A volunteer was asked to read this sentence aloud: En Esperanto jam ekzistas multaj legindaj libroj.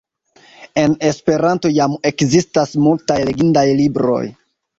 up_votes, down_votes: 2, 0